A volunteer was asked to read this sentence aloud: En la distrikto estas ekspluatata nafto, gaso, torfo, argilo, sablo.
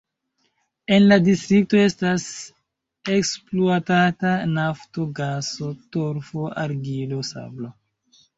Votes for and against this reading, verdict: 2, 1, accepted